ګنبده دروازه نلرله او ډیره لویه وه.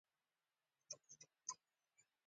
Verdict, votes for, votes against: rejected, 1, 2